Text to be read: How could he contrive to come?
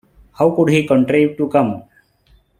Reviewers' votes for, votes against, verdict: 2, 0, accepted